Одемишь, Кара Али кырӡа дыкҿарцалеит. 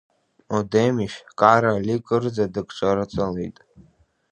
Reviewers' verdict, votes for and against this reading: rejected, 1, 2